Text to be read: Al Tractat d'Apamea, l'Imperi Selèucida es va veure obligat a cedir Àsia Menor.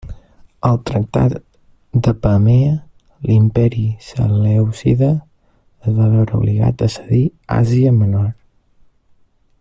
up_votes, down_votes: 1, 2